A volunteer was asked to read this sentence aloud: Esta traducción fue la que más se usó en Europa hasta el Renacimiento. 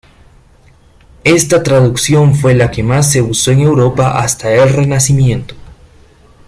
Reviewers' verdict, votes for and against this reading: accepted, 2, 0